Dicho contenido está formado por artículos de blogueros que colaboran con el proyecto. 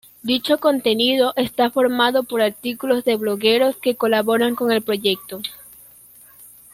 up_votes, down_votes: 2, 0